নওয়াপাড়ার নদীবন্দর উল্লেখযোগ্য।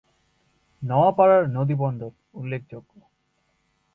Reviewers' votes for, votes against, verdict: 2, 0, accepted